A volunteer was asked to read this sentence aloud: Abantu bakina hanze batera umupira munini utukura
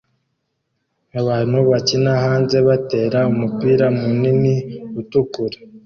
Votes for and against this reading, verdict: 2, 0, accepted